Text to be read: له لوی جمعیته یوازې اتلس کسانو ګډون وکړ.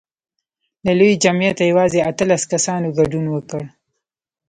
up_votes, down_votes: 0, 2